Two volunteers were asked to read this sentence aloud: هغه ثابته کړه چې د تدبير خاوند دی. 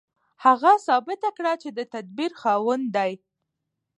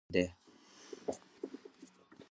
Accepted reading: second